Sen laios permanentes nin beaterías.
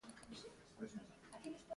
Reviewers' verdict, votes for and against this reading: rejected, 0, 2